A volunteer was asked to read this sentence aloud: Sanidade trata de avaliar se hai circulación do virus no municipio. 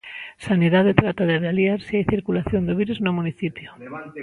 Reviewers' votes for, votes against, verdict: 1, 2, rejected